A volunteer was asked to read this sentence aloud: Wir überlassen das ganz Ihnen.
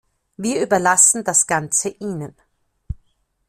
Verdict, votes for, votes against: rejected, 0, 2